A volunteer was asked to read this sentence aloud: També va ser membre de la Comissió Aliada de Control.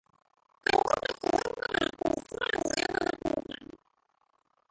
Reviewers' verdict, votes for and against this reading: rejected, 0, 2